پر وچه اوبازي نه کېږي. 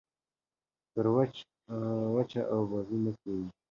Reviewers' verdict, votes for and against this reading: accepted, 2, 0